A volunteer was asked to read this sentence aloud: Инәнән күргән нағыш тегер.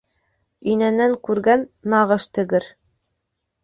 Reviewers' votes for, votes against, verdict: 2, 0, accepted